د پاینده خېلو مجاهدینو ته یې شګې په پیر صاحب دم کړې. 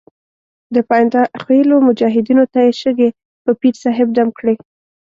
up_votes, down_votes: 2, 0